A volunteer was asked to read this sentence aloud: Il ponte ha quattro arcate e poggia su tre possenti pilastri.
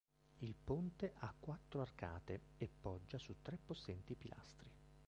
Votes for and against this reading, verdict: 2, 1, accepted